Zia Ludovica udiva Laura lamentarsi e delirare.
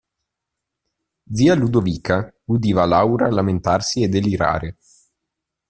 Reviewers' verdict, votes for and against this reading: accepted, 2, 0